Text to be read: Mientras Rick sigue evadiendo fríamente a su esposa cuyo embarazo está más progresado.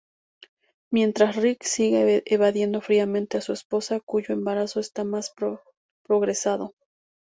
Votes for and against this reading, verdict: 2, 2, rejected